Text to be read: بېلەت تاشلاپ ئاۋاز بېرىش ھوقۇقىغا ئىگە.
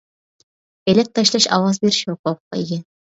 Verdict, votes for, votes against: rejected, 0, 2